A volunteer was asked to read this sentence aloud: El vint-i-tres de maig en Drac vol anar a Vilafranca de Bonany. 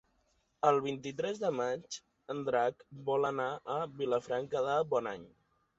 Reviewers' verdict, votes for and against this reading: accepted, 3, 1